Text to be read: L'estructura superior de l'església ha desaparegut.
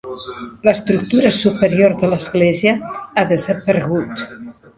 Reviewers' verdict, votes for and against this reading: rejected, 2, 3